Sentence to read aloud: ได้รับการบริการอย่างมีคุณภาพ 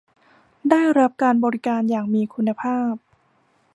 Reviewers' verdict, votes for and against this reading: accepted, 2, 0